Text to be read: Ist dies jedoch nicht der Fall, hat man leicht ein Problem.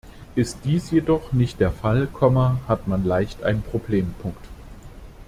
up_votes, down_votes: 0, 2